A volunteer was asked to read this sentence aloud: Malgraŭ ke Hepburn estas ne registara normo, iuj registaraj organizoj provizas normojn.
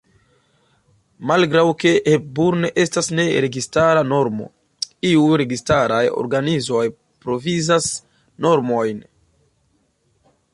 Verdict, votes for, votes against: accepted, 2, 0